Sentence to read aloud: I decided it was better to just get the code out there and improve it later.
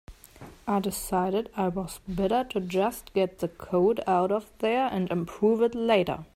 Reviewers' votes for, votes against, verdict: 0, 2, rejected